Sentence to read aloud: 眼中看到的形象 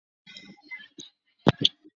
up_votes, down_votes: 0, 3